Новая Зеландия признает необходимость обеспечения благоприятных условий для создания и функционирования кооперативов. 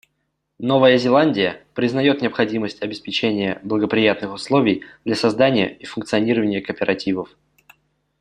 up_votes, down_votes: 2, 1